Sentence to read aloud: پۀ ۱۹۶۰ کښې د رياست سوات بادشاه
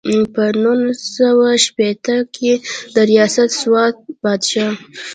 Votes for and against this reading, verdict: 0, 2, rejected